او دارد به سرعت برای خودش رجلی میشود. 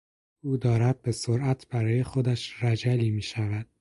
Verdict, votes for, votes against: rejected, 2, 2